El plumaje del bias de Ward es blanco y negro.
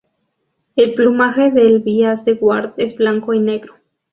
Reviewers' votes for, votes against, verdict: 2, 0, accepted